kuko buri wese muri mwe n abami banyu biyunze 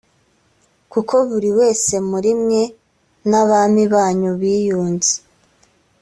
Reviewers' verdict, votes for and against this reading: accepted, 2, 0